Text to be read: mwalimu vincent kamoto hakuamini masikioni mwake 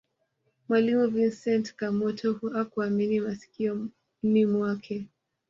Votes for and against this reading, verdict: 1, 2, rejected